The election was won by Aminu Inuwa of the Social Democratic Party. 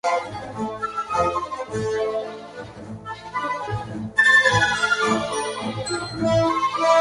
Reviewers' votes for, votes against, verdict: 0, 4, rejected